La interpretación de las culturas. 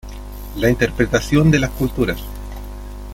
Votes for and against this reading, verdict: 2, 0, accepted